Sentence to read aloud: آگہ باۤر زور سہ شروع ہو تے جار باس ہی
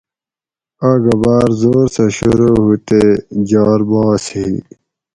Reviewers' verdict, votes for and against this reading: rejected, 2, 2